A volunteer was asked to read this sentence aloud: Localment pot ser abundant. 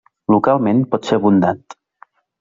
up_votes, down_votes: 0, 2